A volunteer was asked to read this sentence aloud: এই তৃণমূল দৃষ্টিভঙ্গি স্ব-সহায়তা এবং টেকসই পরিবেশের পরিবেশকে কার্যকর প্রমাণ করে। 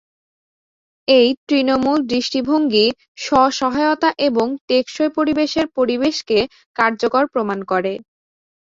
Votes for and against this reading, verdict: 2, 0, accepted